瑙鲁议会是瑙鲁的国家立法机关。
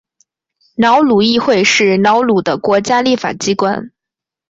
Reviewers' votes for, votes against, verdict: 3, 0, accepted